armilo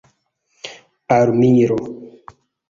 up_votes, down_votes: 0, 2